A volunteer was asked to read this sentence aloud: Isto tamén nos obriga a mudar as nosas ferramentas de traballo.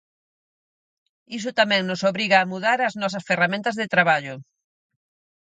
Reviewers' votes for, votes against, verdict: 0, 4, rejected